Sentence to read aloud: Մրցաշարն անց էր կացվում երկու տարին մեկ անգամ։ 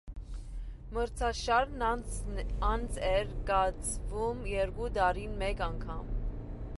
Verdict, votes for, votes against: rejected, 1, 2